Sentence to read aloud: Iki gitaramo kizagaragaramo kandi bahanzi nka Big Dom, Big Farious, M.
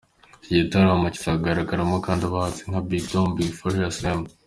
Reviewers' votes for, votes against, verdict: 2, 1, accepted